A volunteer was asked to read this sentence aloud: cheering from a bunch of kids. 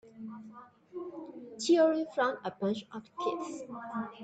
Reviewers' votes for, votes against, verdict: 1, 2, rejected